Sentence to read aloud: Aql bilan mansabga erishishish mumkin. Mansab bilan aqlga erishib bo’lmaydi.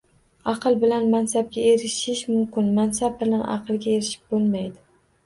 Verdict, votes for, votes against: accepted, 2, 0